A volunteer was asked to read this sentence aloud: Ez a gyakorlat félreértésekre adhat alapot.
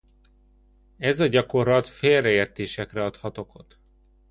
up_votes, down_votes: 1, 2